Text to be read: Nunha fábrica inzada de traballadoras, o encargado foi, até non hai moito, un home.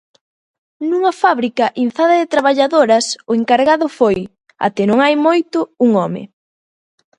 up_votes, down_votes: 2, 0